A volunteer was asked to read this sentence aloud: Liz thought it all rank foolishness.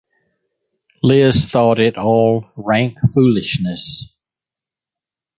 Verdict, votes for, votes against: accepted, 2, 1